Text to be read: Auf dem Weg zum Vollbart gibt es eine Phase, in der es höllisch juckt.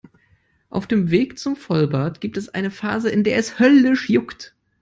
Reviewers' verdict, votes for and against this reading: accepted, 2, 0